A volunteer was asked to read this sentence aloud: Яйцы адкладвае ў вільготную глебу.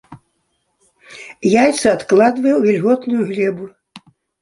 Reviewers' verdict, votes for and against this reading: accepted, 2, 0